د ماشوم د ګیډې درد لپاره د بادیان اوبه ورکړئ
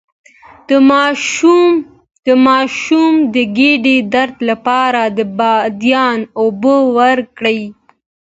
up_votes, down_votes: 2, 1